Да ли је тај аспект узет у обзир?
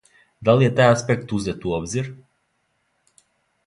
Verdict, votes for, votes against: accepted, 2, 0